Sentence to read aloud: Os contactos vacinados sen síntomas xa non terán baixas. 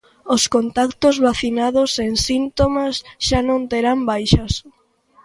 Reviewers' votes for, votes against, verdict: 2, 0, accepted